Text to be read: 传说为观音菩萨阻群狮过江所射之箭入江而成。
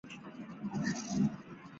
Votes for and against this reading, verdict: 0, 2, rejected